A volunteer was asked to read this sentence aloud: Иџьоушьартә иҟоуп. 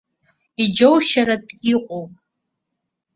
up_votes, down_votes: 2, 0